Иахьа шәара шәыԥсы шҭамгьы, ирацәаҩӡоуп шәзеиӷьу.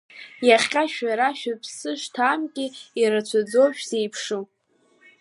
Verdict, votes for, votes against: rejected, 1, 2